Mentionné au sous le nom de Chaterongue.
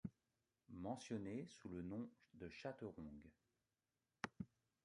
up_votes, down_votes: 0, 2